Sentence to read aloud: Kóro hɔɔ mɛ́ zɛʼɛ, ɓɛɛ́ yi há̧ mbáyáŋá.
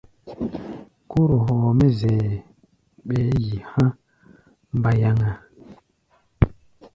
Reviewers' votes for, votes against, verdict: 0, 2, rejected